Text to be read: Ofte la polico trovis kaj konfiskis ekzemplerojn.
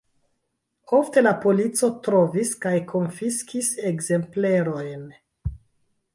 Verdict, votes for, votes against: rejected, 0, 2